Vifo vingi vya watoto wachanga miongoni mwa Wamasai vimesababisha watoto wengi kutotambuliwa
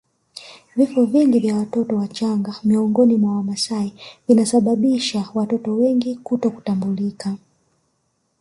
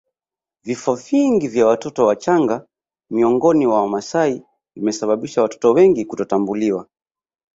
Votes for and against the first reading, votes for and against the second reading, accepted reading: 1, 2, 2, 1, second